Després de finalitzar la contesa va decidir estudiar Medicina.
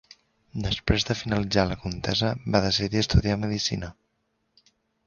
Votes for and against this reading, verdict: 2, 0, accepted